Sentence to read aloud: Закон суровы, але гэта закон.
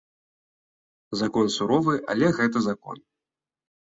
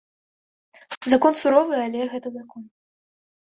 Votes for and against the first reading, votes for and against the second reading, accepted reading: 2, 0, 1, 2, first